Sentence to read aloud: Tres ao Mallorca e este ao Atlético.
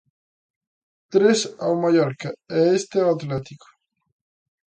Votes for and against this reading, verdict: 2, 0, accepted